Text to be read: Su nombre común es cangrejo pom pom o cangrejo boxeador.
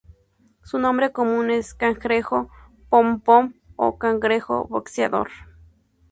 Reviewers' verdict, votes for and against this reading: accepted, 2, 0